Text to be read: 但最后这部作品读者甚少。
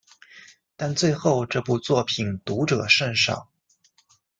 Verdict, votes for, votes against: accepted, 2, 0